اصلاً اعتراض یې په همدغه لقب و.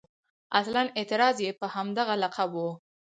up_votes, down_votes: 0, 4